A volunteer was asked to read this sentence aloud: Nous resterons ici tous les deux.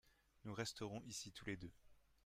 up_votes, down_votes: 2, 0